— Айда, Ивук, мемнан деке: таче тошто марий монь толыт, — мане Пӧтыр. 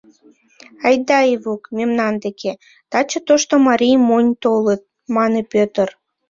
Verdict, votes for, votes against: accepted, 2, 0